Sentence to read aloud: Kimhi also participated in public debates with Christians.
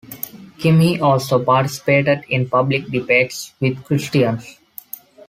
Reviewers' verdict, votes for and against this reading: accepted, 2, 0